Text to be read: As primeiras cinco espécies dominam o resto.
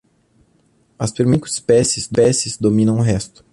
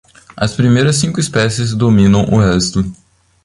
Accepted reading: second